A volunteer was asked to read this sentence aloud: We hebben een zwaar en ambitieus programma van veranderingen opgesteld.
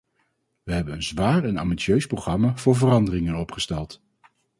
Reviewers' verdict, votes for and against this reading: rejected, 0, 2